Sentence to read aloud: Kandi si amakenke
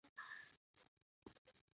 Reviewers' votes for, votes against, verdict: 0, 2, rejected